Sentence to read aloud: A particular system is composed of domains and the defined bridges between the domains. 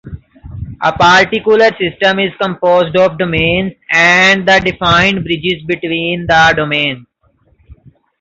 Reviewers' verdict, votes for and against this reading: rejected, 1, 2